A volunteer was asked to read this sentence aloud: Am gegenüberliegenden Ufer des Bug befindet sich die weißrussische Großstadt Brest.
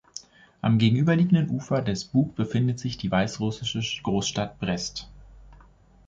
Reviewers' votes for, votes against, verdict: 1, 2, rejected